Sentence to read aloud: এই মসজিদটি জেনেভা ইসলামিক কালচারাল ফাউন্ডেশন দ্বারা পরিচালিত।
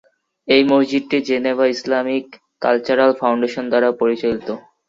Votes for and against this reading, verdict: 2, 0, accepted